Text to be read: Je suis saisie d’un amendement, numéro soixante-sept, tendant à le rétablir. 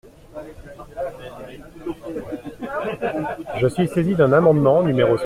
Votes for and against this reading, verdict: 1, 2, rejected